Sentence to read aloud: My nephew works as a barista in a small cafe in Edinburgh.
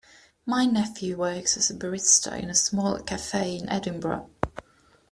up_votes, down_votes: 2, 0